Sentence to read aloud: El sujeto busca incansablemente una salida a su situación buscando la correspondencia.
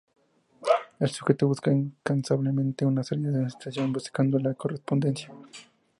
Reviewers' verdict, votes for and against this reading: rejected, 0, 2